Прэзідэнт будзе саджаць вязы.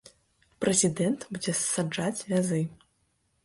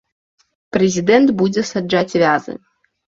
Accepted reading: second